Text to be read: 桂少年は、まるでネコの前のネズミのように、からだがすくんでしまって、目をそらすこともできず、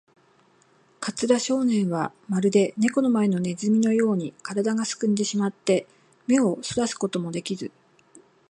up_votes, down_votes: 0, 2